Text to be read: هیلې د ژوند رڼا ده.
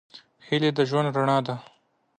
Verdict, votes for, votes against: accepted, 2, 0